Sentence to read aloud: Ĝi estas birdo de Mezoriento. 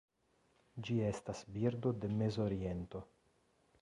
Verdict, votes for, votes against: accepted, 2, 0